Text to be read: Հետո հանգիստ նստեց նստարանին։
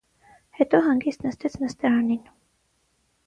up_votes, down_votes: 3, 0